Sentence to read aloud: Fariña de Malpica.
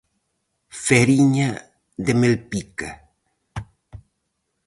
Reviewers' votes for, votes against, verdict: 0, 4, rejected